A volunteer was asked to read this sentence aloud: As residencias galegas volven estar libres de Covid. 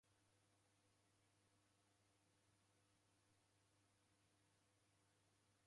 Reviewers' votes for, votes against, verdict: 0, 2, rejected